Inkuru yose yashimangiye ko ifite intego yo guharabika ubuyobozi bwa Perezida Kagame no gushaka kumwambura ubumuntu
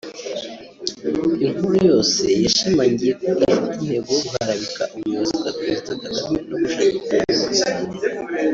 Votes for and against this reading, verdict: 1, 2, rejected